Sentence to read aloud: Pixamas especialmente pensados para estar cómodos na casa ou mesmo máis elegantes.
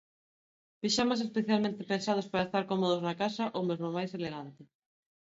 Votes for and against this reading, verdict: 1, 2, rejected